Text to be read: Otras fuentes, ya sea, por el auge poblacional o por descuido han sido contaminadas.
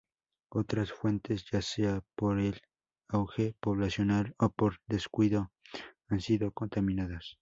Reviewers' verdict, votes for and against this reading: accepted, 2, 0